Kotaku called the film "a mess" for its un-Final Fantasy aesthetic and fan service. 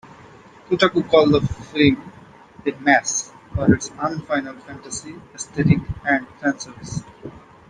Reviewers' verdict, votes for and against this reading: accepted, 2, 0